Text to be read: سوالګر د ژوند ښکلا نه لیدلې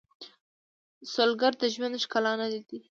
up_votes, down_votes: 2, 1